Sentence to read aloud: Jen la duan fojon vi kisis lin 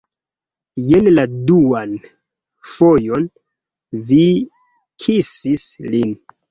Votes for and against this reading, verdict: 2, 0, accepted